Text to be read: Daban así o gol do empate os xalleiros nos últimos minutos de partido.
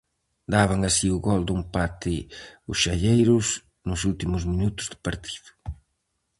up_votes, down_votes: 2, 2